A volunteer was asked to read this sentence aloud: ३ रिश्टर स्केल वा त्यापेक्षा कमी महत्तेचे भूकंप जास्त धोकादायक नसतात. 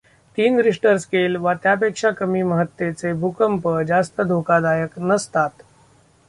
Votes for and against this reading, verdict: 0, 2, rejected